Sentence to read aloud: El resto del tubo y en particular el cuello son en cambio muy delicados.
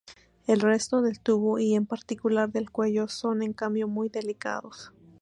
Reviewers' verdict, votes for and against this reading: accepted, 2, 0